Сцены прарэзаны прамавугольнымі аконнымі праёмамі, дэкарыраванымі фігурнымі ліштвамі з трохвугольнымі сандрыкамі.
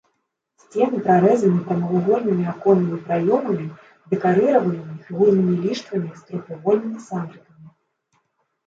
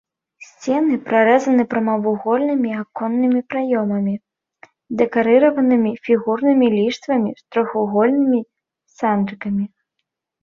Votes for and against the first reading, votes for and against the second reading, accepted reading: 0, 2, 4, 0, second